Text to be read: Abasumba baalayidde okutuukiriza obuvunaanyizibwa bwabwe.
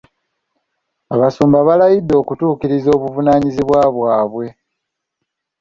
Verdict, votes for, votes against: accepted, 2, 0